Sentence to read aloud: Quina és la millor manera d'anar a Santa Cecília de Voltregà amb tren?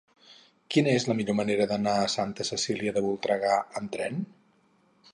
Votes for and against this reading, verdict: 2, 2, rejected